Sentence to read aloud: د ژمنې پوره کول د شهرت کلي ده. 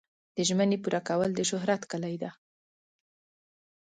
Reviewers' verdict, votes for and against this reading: accepted, 2, 0